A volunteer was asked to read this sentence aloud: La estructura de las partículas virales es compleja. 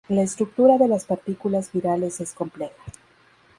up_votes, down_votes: 2, 0